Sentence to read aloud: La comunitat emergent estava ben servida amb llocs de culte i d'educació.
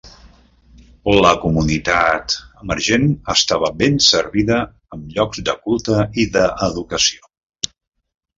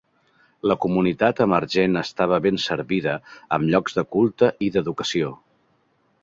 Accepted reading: second